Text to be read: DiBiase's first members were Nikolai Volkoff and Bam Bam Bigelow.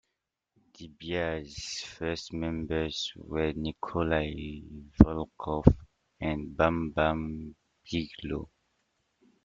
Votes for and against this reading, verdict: 0, 2, rejected